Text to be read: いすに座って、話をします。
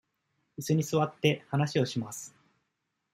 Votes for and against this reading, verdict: 2, 0, accepted